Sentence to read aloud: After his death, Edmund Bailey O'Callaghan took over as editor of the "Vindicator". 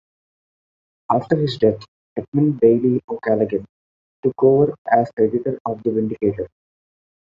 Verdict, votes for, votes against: rejected, 1, 2